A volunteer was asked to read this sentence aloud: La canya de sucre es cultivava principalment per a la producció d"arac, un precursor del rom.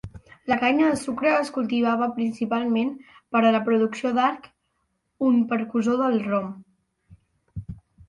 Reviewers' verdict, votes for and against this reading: rejected, 1, 2